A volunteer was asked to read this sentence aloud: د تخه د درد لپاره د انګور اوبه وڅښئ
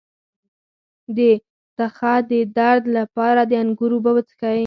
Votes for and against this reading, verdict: 2, 4, rejected